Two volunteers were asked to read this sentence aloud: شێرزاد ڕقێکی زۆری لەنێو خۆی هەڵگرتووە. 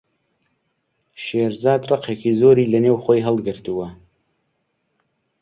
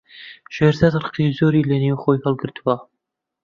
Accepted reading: first